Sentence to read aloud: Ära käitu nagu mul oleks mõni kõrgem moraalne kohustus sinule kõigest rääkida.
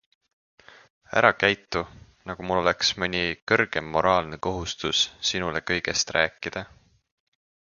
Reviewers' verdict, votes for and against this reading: accepted, 2, 0